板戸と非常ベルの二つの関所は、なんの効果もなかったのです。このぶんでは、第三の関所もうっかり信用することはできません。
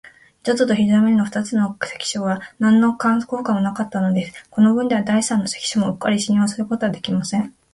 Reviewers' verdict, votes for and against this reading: accepted, 5, 4